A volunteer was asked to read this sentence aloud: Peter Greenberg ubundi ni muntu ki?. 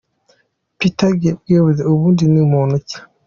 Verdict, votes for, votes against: accepted, 2, 0